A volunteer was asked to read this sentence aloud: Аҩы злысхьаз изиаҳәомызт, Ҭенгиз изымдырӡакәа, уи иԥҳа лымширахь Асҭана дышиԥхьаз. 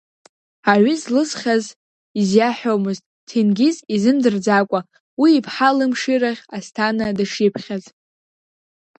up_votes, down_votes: 1, 2